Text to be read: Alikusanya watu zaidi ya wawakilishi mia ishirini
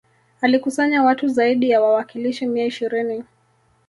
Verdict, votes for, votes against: rejected, 1, 2